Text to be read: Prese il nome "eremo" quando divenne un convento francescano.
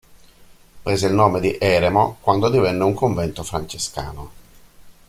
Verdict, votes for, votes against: rejected, 1, 2